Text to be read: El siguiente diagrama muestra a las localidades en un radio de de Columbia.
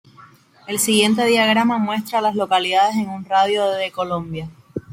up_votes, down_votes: 1, 2